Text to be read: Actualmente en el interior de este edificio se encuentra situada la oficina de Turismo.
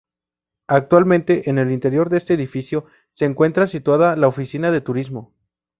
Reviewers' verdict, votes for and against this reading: accepted, 2, 0